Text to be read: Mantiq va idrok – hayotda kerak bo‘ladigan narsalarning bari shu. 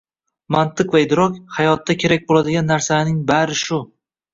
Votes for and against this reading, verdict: 2, 1, accepted